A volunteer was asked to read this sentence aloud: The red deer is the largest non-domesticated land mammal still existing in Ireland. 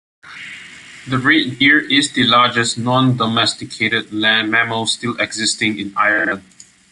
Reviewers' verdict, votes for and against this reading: accepted, 2, 0